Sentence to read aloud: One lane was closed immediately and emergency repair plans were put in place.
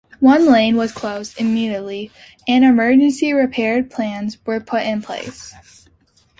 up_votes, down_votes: 2, 0